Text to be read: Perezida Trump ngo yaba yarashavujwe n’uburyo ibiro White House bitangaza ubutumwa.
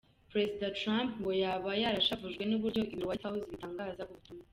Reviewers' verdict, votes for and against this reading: rejected, 1, 2